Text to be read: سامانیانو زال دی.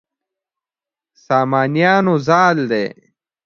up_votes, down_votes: 2, 0